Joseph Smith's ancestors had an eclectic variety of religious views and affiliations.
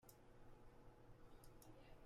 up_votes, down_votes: 0, 2